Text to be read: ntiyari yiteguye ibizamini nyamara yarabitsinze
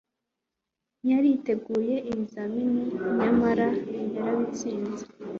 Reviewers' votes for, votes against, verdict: 2, 1, accepted